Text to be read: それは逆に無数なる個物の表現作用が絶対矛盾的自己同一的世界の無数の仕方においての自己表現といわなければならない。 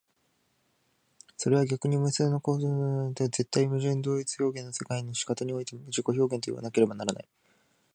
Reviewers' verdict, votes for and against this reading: rejected, 0, 2